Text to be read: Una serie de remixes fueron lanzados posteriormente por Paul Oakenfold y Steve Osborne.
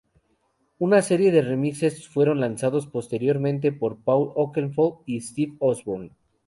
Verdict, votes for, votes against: accepted, 2, 0